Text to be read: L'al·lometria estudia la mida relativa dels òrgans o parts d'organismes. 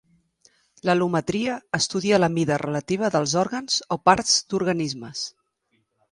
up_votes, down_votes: 2, 0